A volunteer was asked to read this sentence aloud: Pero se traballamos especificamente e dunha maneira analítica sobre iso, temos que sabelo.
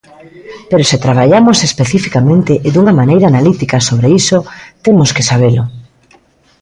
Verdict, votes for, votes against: accepted, 2, 1